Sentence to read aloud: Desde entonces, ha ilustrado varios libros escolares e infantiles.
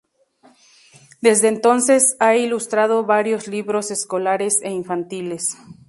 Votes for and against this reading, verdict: 0, 2, rejected